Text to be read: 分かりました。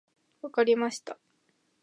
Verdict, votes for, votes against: accepted, 2, 0